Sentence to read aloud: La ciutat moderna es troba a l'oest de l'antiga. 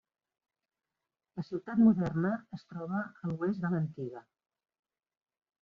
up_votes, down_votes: 1, 2